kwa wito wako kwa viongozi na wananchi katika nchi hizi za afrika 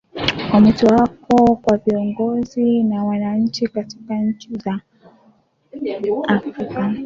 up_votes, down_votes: 1, 2